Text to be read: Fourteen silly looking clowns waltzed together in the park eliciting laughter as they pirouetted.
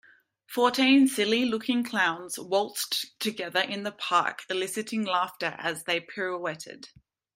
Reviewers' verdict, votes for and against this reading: accepted, 2, 0